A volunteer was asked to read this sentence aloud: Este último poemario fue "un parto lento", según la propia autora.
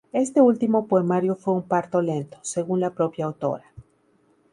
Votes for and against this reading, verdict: 2, 0, accepted